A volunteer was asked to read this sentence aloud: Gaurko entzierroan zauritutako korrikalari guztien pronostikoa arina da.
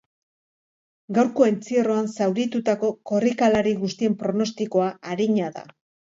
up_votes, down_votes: 2, 0